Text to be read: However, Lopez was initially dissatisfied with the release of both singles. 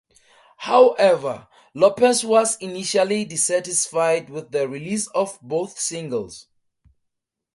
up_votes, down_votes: 2, 0